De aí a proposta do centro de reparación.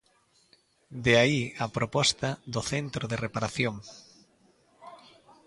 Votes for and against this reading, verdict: 2, 0, accepted